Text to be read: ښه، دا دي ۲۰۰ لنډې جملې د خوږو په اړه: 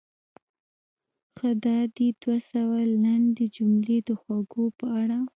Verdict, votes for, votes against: rejected, 0, 2